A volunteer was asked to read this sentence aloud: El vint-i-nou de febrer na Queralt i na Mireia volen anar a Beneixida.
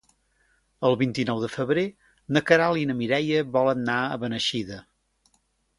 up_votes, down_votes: 0, 2